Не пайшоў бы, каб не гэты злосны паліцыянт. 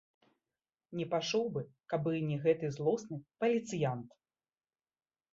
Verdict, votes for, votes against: accepted, 2, 1